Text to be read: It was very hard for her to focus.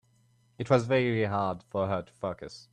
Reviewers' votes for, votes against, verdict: 2, 0, accepted